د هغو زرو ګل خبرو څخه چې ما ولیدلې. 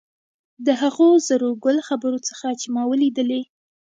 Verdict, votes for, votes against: rejected, 1, 2